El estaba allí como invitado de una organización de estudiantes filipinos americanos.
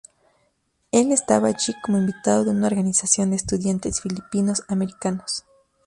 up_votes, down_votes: 2, 0